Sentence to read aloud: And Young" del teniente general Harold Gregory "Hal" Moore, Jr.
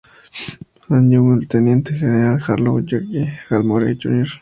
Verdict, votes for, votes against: accepted, 2, 0